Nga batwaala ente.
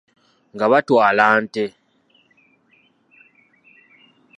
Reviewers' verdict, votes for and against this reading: rejected, 1, 2